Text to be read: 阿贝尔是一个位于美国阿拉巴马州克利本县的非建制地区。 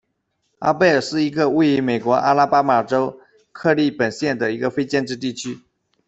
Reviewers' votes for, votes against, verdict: 0, 2, rejected